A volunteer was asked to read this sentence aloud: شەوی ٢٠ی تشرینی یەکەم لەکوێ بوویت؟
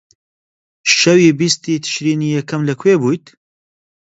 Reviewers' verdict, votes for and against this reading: rejected, 0, 2